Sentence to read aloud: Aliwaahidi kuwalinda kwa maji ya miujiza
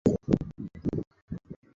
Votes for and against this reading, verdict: 0, 2, rejected